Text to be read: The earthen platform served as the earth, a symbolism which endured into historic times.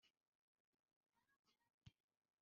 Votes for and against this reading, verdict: 0, 2, rejected